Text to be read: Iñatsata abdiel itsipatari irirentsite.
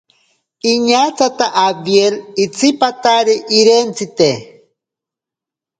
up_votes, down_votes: 0, 2